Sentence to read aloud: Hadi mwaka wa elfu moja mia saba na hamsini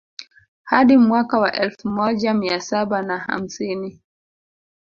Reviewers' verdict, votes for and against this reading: rejected, 1, 2